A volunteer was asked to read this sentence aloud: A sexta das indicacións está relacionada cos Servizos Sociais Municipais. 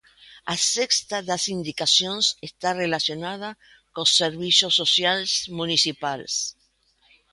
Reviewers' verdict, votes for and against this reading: rejected, 0, 2